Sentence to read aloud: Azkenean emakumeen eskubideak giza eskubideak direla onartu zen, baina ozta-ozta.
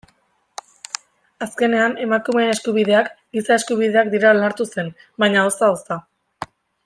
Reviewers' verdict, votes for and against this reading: accepted, 2, 0